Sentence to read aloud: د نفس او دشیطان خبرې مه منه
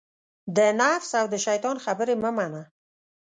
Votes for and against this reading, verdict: 2, 0, accepted